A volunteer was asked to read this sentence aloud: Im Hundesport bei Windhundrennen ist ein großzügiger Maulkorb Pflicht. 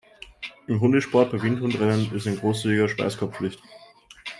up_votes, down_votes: 0, 2